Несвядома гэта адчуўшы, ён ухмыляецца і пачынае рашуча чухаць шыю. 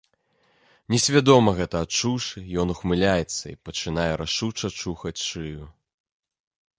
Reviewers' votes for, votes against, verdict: 2, 0, accepted